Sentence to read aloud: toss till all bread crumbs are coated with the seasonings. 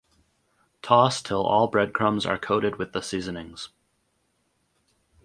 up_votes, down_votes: 2, 2